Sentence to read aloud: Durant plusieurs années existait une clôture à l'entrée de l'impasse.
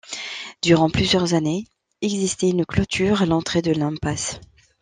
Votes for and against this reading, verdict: 2, 0, accepted